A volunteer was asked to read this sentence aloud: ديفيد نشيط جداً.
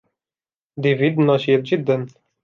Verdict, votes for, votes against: accepted, 2, 0